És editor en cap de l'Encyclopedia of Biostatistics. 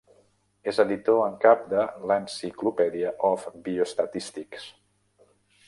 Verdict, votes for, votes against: accepted, 3, 0